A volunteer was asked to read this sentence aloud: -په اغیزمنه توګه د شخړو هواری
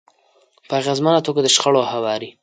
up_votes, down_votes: 2, 0